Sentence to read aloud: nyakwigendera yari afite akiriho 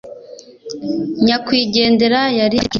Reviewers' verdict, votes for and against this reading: rejected, 0, 2